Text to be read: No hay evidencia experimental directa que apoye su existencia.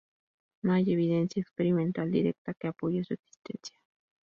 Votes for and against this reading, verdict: 4, 0, accepted